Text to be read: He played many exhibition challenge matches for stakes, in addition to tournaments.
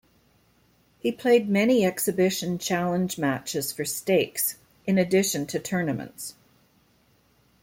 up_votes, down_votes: 2, 0